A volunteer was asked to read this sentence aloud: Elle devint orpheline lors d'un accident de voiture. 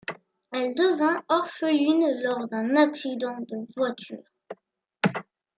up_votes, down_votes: 0, 2